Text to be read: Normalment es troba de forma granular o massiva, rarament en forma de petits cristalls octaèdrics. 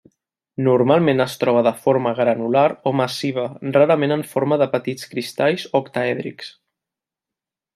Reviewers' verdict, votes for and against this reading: accepted, 3, 0